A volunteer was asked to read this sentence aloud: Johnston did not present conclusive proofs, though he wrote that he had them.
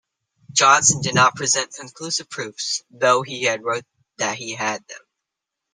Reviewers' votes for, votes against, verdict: 3, 1, accepted